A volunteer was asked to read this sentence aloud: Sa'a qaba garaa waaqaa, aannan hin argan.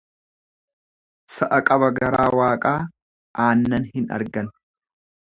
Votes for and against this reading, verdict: 2, 0, accepted